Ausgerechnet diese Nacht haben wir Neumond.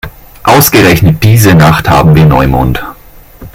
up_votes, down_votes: 2, 0